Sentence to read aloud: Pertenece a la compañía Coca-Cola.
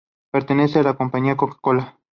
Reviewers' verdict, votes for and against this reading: accepted, 2, 0